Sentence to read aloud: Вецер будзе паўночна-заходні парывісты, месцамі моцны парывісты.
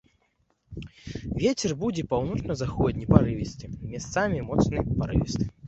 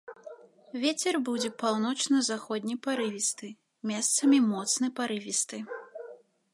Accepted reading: second